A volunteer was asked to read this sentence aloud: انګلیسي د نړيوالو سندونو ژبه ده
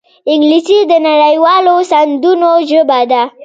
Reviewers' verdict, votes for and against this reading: rejected, 1, 2